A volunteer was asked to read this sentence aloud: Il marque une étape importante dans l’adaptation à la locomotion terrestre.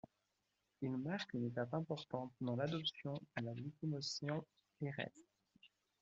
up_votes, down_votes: 1, 2